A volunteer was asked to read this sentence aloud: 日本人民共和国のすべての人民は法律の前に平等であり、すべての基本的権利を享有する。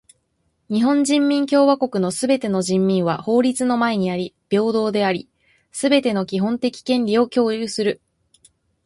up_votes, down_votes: 0, 2